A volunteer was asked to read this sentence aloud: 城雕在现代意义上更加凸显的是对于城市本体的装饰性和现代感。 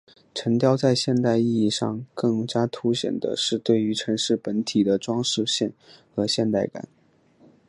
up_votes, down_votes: 1, 3